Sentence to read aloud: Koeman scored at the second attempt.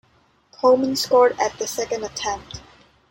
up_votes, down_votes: 2, 0